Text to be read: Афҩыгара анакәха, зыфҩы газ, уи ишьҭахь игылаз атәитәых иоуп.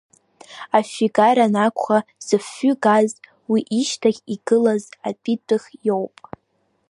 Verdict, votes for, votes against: accepted, 2, 0